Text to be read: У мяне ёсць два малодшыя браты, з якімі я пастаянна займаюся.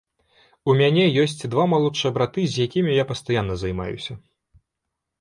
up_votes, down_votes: 3, 0